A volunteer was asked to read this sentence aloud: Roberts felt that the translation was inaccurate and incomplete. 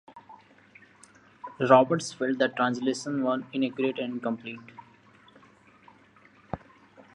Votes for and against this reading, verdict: 2, 3, rejected